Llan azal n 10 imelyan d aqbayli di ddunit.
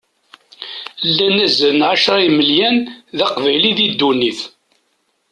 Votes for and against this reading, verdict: 0, 2, rejected